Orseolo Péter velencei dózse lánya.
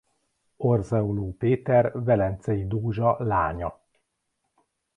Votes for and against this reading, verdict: 1, 2, rejected